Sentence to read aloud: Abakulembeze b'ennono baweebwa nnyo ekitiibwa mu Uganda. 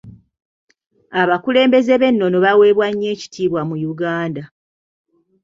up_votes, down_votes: 2, 0